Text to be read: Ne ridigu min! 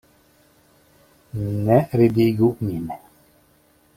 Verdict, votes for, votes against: accepted, 2, 1